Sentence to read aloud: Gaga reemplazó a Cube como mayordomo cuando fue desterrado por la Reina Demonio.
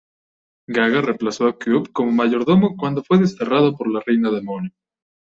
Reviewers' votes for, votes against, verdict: 2, 0, accepted